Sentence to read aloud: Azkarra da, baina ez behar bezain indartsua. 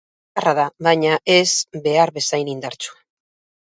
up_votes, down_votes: 0, 4